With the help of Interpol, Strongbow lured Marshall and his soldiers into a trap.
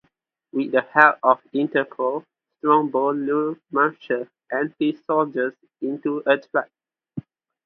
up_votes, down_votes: 2, 2